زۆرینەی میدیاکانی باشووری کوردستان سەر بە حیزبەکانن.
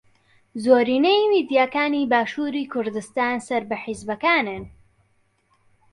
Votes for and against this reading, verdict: 2, 0, accepted